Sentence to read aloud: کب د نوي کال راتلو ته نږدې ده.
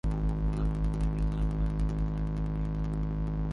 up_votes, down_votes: 0, 2